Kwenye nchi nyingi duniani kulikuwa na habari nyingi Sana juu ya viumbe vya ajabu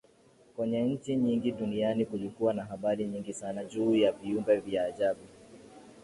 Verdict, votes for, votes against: accepted, 2, 0